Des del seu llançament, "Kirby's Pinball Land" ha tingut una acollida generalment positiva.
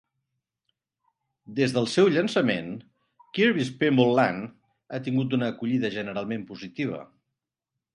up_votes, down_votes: 2, 0